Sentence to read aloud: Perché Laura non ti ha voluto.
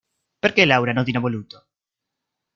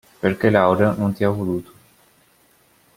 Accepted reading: second